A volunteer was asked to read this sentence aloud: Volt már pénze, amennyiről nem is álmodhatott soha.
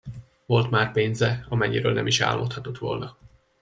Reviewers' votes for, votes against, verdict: 0, 2, rejected